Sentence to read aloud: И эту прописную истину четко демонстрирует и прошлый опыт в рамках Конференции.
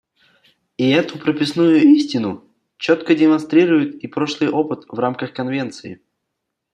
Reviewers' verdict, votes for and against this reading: rejected, 0, 2